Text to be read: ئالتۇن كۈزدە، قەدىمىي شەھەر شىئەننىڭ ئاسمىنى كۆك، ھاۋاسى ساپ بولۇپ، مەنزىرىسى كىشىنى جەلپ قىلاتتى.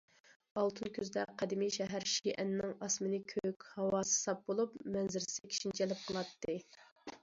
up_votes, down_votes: 2, 0